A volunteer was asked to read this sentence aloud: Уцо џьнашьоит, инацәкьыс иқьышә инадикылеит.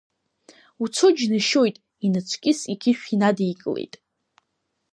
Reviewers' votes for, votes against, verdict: 1, 2, rejected